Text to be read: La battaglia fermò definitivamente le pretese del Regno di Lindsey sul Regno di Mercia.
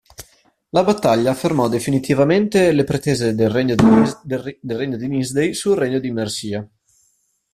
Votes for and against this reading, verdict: 0, 2, rejected